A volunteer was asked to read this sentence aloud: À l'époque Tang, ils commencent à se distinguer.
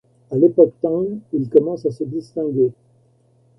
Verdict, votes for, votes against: accepted, 2, 0